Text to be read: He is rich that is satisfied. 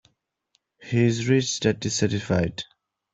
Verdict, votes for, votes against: rejected, 1, 2